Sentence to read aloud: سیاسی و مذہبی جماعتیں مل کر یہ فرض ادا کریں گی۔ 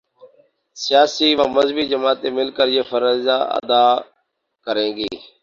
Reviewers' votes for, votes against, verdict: 0, 2, rejected